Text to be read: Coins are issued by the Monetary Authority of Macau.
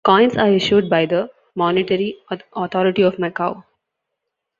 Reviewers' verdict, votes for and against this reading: rejected, 0, 2